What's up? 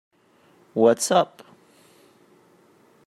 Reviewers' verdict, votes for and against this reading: accepted, 2, 0